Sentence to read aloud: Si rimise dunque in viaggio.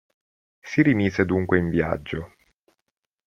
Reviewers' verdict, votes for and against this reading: accepted, 2, 0